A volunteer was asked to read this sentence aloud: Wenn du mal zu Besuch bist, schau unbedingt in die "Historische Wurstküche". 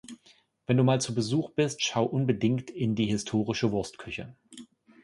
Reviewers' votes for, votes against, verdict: 2, 0, accepted